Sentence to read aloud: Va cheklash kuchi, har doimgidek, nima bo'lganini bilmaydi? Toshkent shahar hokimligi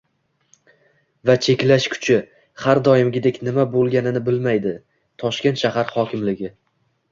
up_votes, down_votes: 2, 0